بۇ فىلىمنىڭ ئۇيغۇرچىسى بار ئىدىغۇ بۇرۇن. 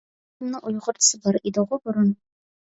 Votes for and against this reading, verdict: 0, 2, rejected